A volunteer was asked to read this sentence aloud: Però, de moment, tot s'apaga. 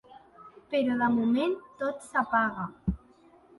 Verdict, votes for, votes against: accepted, 2, 0